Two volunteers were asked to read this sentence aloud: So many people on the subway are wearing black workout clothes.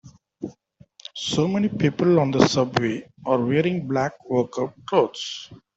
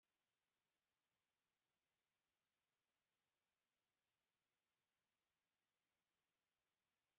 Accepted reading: first